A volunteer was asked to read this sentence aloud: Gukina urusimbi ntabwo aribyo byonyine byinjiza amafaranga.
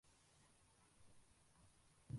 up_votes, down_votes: 0, 2